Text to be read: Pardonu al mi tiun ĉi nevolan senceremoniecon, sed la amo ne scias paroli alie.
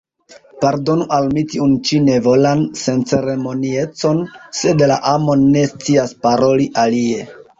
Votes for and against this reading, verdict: 2, 1, accepted